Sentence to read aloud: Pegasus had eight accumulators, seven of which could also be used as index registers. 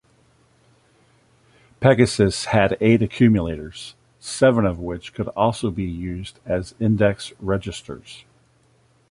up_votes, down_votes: 2, 0